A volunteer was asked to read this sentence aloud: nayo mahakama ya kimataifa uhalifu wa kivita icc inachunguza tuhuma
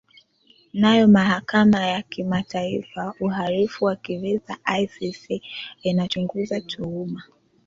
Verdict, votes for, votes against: accepted, 2, 0